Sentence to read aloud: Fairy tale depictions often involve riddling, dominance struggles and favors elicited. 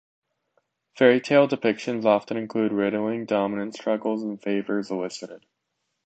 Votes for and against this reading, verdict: 0, 2, rejected